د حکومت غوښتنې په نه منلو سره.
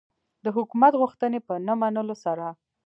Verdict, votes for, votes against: accepted, 2, 0